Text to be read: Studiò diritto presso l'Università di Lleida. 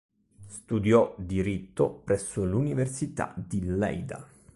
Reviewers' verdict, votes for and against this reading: accepted, 4, 0